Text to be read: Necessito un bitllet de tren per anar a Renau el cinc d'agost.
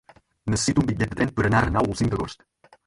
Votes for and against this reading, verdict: 4, 2, accepted